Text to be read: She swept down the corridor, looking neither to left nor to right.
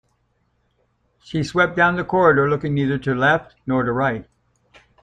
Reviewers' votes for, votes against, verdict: 2, 1, accepted